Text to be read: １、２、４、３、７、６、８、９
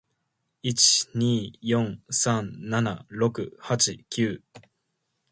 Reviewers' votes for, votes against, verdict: 0, 2, rejected